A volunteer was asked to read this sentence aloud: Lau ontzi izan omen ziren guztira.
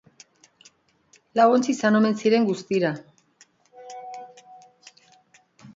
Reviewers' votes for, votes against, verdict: 2, 0, accepted